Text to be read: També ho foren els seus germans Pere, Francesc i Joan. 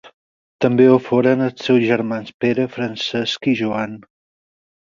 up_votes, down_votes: 4, 0